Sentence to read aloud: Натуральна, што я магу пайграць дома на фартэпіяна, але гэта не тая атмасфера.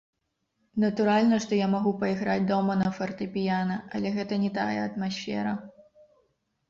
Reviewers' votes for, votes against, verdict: 1, 2, rejected